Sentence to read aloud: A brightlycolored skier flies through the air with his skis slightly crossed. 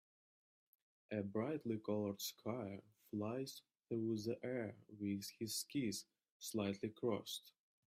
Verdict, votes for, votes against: rejected, 0, 2